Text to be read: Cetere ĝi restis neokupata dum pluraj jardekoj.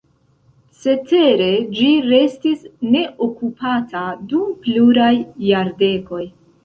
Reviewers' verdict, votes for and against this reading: accepted, 2, 0